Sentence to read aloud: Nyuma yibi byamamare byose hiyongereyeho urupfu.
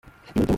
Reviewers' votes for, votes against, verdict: 0, 2, rejected